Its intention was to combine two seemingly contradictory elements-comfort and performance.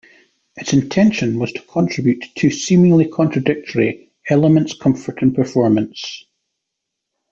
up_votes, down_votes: 0, 2